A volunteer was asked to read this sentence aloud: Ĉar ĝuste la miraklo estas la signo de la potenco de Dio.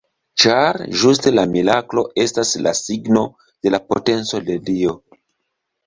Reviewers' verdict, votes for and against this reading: accepted, 2, 0